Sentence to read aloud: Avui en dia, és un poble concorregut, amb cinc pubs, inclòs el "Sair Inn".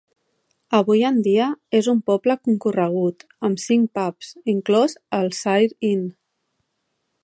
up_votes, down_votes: 2, 0